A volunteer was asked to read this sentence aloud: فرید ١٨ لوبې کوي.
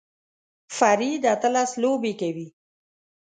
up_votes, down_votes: 0, 2